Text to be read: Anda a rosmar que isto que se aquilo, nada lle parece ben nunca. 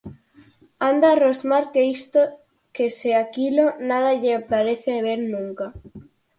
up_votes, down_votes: 4, 0